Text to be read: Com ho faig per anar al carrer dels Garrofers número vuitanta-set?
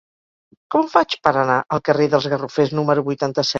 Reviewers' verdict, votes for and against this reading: rejected, 2, 4